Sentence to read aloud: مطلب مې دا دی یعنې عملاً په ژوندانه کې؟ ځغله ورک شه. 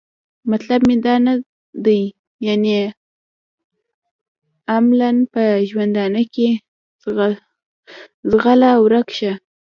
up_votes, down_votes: 1, 2